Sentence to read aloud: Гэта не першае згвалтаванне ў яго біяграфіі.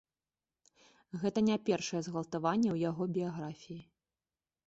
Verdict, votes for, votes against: accepted, 3, 0